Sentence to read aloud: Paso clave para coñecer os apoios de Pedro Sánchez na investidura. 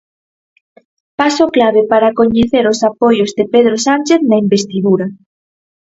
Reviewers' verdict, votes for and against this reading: accepted, 4, 0